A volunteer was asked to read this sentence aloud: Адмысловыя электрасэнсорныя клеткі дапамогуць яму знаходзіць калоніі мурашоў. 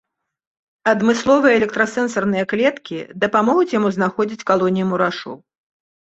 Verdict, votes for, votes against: accepted, 2, 0